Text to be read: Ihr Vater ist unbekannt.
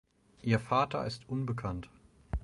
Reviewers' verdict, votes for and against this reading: accepted, 4, 0